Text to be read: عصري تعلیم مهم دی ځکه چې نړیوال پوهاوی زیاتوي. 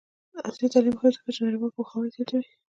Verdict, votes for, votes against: rejected, 0, 2